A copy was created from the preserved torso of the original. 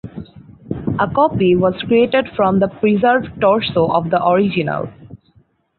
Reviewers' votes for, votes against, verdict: 4, 0, accepted